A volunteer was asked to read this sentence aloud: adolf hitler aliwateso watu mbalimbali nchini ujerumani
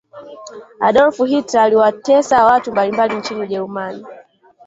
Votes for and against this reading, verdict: 2, 1, accepted